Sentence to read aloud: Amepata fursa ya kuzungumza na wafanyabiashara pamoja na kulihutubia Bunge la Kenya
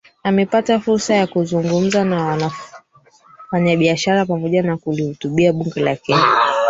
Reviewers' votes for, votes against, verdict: 0, 4, rejected